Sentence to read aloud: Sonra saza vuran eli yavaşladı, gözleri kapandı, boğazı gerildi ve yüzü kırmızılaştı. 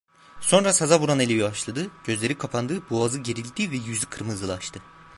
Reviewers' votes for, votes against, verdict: 1, 2, rejected